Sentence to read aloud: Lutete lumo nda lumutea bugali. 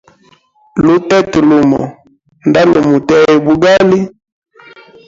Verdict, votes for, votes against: accepted, 2, 0